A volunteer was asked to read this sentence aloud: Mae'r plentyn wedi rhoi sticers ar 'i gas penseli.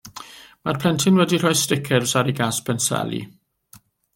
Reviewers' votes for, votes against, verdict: 2, 0, accepted